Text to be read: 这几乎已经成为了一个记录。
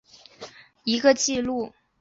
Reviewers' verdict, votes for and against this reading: rejected, 0, 2